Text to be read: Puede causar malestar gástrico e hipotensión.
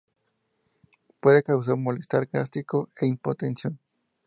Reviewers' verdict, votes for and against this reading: accepted, 2, 0